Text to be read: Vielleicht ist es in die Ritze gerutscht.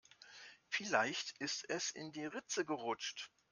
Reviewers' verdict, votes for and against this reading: accepted, 2, 0